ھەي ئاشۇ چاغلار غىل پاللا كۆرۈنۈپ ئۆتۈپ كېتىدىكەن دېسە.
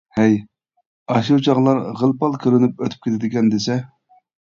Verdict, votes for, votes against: rejected, 1, 2